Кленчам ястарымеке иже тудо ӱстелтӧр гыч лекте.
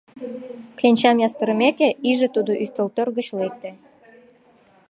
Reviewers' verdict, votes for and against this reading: rejected, 1, 2